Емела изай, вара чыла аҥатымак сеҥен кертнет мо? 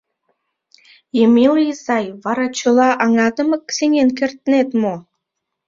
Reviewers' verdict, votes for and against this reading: accepted, 2, 0